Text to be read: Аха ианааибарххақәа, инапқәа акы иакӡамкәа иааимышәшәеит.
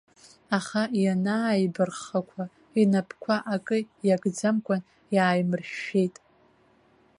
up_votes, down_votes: 1, 2